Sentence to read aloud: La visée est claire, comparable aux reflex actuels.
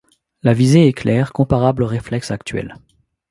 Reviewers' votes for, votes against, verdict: 2, 0, accepted